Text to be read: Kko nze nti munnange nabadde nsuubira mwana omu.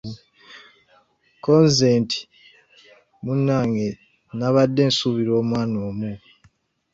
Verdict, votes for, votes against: accepted, 2, 0